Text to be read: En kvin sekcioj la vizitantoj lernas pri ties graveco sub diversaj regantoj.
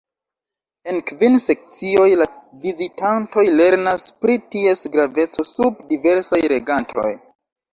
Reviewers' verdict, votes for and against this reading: rejected, 0, 2